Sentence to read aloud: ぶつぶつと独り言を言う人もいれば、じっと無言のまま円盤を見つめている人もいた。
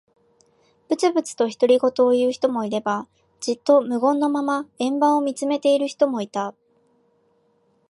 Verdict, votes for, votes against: accepted, 3, 0